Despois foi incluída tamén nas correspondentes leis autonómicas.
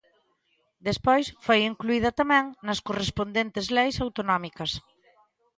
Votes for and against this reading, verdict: 2, 0, accepted